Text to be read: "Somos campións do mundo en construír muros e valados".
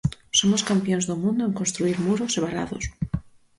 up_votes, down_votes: 4, 0